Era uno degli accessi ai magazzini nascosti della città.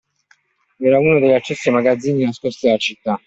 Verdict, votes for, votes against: accepted, 2, 0